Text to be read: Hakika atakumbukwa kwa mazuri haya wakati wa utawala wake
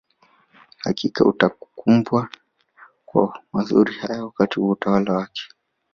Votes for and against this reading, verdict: 0, 3, rejected